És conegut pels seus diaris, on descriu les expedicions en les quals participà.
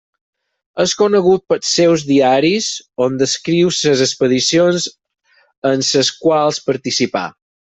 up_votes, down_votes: 0, 4